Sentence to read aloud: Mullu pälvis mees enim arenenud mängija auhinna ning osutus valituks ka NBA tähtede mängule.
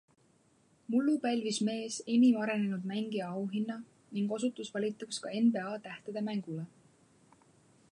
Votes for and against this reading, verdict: 2, 0, accepted